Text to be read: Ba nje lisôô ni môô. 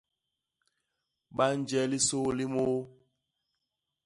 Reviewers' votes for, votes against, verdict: 1, 2, rejected